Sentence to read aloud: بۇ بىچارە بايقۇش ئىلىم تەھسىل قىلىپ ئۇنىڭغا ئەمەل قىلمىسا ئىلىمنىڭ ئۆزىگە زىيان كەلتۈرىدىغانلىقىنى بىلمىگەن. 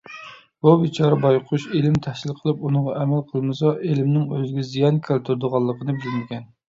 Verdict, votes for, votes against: accepted, 2, 0